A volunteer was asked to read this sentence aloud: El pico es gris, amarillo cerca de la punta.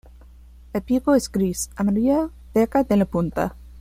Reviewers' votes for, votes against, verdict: 0, 2, rejected